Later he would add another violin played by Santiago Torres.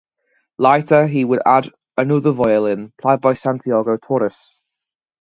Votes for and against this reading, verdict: 0, 2, rejected